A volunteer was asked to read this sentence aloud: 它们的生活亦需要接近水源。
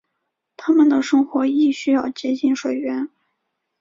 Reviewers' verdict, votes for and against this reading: rejected, 1, 2